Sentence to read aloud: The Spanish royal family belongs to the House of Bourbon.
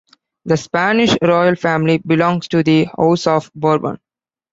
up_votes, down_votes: 2, 0